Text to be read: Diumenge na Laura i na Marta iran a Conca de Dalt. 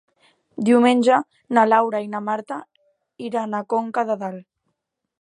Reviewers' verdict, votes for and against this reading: accepted, 4, 0